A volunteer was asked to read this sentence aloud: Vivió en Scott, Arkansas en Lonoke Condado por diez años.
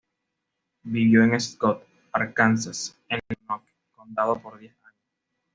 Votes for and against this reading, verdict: 1, 2, rejected